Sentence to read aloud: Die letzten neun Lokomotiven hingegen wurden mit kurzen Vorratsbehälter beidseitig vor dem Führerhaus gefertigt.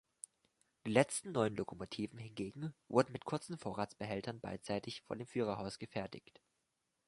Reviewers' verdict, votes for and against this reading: rejected, 1, 2